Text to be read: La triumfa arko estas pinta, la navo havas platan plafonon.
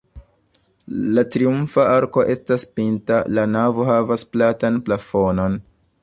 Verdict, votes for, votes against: accepted, 2, 0